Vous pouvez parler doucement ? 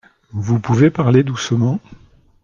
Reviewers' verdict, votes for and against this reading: accepted, 2, 0